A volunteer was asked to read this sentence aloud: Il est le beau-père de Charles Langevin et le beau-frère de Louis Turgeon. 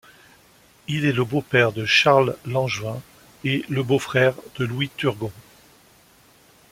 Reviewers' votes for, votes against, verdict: 1, 2, rejected